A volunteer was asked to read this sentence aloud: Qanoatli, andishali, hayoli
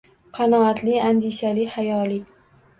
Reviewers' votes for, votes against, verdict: 1, 2, rejected